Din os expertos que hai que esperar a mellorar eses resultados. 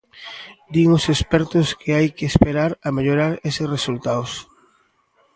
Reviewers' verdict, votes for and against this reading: rejected, 1, 2